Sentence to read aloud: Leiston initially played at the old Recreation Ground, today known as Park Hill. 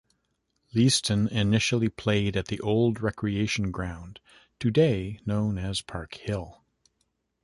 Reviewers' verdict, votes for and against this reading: accepted, 2, 0